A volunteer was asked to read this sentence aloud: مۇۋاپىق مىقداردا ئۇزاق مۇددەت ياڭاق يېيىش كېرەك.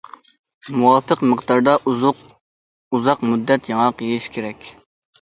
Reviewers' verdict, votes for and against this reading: rejected, 0, 2